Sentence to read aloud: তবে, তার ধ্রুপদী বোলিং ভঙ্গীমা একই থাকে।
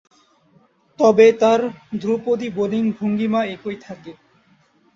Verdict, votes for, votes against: accepted, 6, 2